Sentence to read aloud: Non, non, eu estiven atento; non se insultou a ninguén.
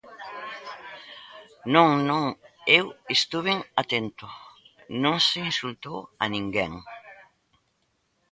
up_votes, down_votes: 1, 2